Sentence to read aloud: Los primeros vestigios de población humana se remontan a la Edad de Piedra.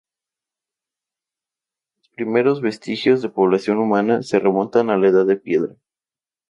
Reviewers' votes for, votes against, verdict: 2, 0, accepted